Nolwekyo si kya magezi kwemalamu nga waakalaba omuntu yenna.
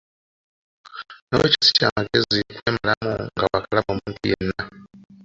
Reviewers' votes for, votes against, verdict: 0, 3, rejected